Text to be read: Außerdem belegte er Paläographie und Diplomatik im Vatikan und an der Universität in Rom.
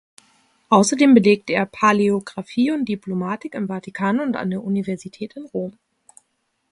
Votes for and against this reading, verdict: 2, 1, accepted